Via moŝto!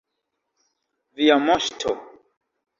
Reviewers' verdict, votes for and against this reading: accepted, 2, 0